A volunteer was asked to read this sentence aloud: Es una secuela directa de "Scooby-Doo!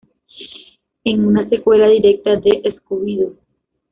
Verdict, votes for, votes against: rejected, 1, 2